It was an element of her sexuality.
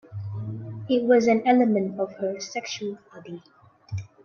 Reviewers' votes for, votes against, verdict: 1, 3, rejected